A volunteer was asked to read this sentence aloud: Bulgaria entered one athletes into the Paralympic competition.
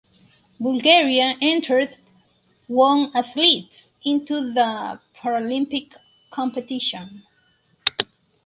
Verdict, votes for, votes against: accepted, 4, 2